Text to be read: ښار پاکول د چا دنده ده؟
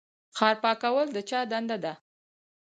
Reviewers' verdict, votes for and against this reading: rejected, 2, 2